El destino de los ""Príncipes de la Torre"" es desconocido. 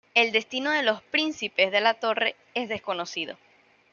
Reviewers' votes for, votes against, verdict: 2, 0, accepted